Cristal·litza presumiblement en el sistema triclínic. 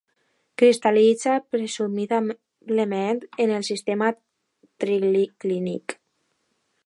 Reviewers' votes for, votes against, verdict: 0, 2, rejected